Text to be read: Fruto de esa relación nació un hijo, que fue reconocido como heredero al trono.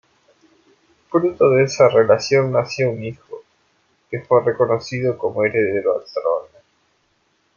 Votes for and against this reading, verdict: 0, 2, rejected